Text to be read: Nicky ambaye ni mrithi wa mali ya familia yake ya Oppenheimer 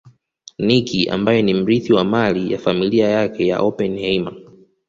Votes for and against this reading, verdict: 2, 0, accepted